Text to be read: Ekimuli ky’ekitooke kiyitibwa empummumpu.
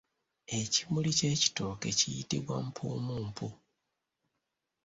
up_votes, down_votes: 1, 2